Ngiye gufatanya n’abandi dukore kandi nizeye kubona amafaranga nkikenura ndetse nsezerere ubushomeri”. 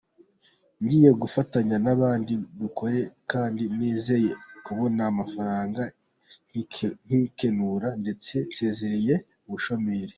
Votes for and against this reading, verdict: 0, 2, rejected